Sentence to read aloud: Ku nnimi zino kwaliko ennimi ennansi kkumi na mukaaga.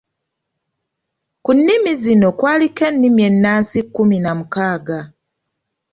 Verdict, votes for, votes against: accepted, 3, 0